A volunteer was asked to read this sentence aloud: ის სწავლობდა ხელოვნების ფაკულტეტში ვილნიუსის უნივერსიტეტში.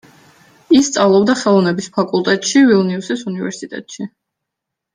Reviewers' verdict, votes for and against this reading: accepted, 2, 0